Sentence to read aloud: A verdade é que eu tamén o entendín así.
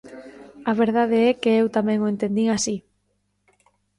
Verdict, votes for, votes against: rejected, 1, 2